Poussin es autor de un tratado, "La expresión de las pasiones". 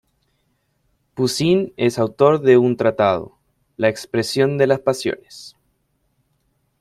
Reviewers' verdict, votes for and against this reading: accepted, 2, 0